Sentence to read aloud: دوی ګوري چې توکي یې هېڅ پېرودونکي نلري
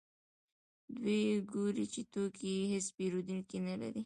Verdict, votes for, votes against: accepted, 2, 0